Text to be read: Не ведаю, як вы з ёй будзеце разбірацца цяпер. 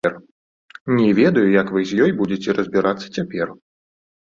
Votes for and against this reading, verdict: 1, 2, rejected